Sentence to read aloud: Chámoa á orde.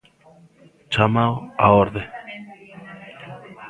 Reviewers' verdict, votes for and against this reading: rejected, 0, 2